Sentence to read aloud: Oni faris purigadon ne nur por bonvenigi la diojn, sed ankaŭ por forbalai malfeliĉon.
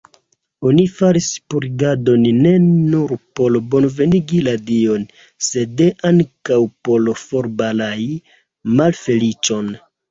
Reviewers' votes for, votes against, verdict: 0, 2, rejected